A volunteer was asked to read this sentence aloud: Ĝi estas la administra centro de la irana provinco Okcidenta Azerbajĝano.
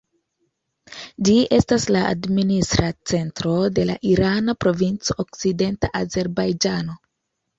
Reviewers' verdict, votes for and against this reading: accepted, 2, 0